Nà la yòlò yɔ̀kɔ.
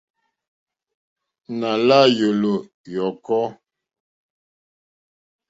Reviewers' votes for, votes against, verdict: 2, 0, accepted